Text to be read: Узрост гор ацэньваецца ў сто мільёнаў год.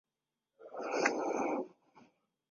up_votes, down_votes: 0, 2